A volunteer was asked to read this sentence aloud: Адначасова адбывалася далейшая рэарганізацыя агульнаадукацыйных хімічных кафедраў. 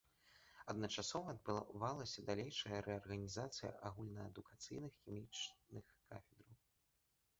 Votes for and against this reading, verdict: 0, 2, rejected